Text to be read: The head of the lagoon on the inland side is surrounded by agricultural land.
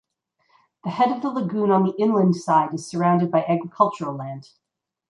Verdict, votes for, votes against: rejected, 0, 2